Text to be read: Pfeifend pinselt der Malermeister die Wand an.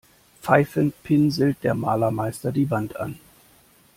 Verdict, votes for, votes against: accepted, 2, 0